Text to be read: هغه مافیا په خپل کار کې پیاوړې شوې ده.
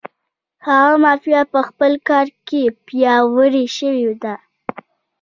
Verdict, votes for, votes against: accepted, 2, 0